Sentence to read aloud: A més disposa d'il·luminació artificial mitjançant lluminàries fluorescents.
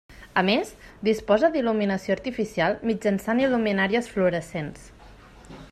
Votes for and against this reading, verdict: 1, 2, rejected